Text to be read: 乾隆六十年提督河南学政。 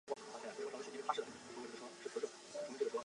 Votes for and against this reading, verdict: 1, 2, rejected